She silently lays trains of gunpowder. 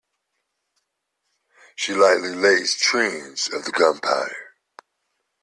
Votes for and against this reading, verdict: 1, 2, rejected